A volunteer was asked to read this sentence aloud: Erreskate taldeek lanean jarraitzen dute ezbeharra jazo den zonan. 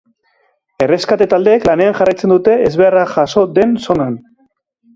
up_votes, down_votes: 2, 0